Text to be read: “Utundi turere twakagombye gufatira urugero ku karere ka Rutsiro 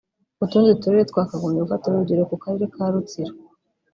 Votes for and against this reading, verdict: 1, 2, rejected